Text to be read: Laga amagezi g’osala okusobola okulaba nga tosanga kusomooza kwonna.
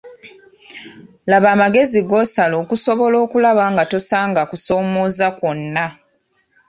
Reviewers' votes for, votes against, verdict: 1, 2, rejected